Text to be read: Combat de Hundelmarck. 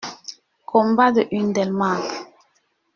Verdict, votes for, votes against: accepted, 2, 0